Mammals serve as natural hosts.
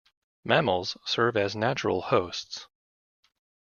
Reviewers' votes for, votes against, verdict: 2, 0, accepted